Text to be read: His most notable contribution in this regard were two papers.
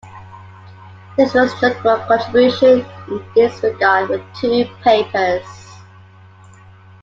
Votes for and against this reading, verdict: 0, 2, rejected